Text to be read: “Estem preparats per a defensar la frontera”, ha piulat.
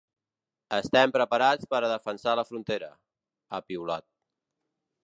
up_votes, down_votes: 3, 0